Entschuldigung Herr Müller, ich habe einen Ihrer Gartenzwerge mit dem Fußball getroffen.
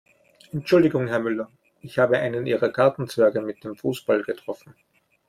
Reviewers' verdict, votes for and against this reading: accepted, 2, 0